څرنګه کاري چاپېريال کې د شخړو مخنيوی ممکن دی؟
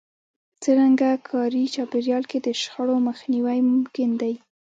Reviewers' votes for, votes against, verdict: 0, 2, rejected